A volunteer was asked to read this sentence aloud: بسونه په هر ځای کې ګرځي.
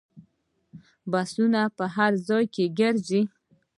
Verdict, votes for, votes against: accepted, 2, 0